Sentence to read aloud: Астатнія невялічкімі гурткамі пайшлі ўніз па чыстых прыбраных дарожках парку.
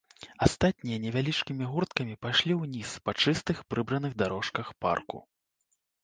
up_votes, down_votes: 1, 2